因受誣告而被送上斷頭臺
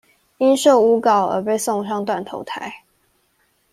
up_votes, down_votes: 2, 0